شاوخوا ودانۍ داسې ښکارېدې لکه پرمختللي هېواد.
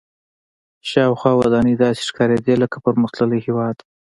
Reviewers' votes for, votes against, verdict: 2, 0, accepted